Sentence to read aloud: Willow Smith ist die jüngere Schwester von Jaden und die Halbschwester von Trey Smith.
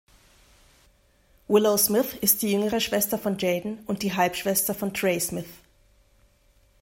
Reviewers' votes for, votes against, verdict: 2, 0, accepted